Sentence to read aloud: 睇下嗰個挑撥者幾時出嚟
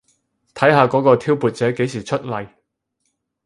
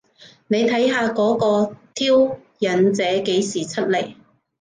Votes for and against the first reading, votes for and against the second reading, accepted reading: 4, 0, 0, 2, first